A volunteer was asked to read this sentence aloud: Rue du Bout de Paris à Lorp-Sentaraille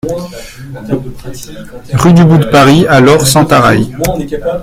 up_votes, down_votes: 0, 2